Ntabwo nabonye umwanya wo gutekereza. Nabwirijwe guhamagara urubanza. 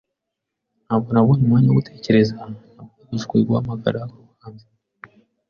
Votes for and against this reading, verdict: 2, 0, accepted